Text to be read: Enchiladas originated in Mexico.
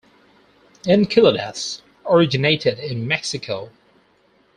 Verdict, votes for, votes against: rejected, 2, 2